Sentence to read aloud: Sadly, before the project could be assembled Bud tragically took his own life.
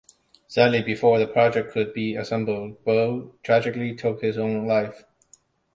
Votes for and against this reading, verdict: 2, 0, accepted